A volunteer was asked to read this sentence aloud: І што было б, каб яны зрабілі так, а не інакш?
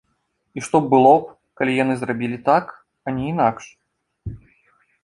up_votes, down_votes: 1, 2